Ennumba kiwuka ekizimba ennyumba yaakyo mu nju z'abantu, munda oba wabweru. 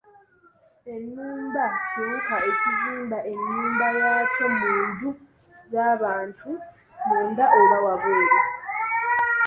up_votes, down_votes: 2, 0